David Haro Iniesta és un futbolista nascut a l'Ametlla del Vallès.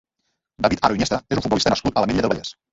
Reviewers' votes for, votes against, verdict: 0, 2, rejected